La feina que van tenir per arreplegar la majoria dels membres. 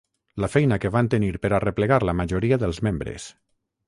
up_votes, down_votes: 6, 0